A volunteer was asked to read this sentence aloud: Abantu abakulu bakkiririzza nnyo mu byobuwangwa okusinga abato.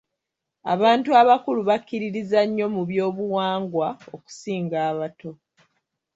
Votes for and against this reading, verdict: 1, 2, rejected